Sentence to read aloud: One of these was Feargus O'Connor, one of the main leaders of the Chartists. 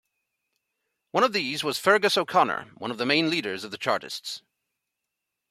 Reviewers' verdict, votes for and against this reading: accepted, 2, 0